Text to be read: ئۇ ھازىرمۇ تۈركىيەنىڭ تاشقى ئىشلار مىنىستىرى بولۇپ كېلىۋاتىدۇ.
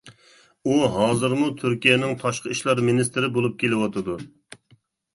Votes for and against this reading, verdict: 2, 0, accepted